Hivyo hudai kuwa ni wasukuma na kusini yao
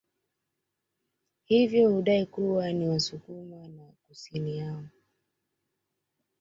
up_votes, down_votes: 0, 2